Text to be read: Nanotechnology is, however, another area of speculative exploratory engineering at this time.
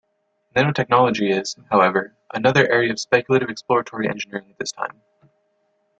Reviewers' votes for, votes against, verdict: 2, 1, accepted